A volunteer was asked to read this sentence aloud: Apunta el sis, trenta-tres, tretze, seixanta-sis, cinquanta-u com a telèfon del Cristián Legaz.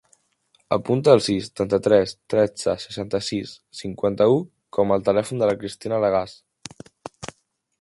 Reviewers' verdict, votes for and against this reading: rejected, 0, 2